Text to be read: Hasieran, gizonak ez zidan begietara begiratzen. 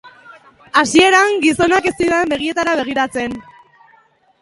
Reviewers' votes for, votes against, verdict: 3, 0, accepted